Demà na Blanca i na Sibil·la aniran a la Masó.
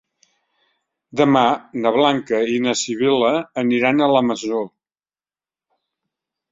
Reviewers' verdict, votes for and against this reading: accepted, 4, 0